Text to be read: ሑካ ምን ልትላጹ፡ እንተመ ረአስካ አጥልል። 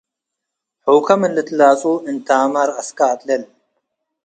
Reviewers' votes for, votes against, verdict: 2, 0, accepted